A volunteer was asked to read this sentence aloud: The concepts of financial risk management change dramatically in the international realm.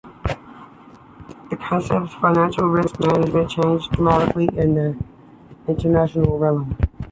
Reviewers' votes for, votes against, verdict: 3, 1, accepted